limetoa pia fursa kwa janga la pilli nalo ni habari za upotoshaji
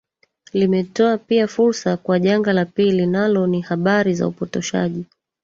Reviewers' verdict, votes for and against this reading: rejected, 1, 2